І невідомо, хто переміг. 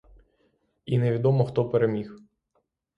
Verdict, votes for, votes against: accepted, 6, 0